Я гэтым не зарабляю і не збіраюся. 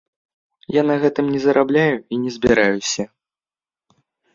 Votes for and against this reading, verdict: 1, 2, rejected